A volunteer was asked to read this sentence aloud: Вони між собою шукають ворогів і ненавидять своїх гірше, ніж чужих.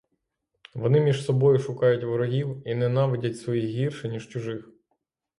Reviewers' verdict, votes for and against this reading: accepted, 6, 0